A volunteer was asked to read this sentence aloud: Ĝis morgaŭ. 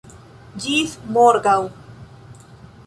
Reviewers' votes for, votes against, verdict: 2, 0, accepted